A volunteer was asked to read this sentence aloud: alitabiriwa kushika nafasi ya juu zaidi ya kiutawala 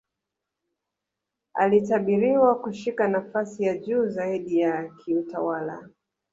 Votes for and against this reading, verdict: 1, 2, rejected